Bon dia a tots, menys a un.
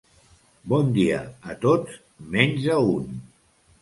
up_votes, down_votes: 2, 0